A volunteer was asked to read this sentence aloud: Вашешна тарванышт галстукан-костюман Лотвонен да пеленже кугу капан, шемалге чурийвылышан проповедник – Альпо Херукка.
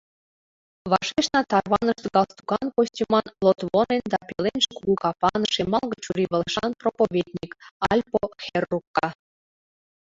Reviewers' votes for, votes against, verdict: 1, 2, rejected